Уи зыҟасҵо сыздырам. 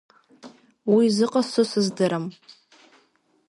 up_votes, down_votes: 2, 0